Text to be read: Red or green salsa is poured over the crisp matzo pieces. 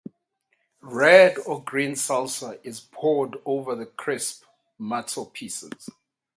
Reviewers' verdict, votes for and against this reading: rejected, 4, 4